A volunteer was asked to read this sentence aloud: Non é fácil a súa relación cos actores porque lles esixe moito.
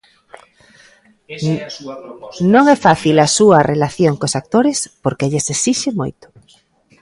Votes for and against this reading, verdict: 0, 2, rejected